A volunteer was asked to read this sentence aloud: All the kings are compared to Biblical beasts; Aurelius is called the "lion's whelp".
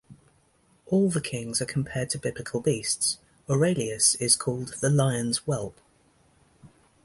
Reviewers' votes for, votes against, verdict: 2, 0, accepted